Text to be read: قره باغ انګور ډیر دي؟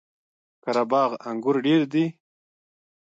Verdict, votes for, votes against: rejected, 1, 2